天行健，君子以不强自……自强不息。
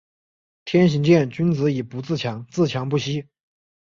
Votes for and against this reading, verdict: 1, 2, rejected